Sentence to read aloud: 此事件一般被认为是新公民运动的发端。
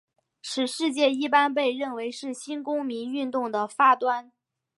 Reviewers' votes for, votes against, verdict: 4, 1, accepted